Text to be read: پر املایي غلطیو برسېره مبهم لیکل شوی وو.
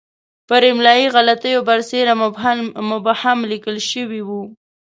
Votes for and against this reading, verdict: 2, 0, accepted